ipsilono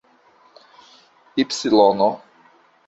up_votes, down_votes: 2, 1